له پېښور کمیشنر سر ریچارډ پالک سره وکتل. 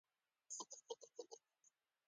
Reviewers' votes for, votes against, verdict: 2, 1, accepted